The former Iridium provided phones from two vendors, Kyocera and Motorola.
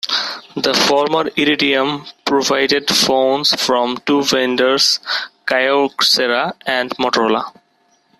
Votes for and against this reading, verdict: 2, 0, accepted